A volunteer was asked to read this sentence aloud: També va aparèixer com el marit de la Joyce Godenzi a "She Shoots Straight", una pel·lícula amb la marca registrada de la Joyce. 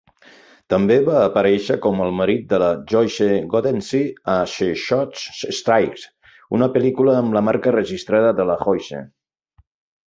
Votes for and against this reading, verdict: 0, 2, rejected